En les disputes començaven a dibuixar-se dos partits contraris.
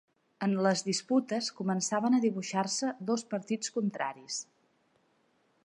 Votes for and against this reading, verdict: 3, 0, accepted